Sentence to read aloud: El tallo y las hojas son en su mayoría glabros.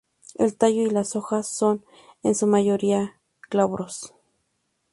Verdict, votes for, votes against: rejected, 0, 4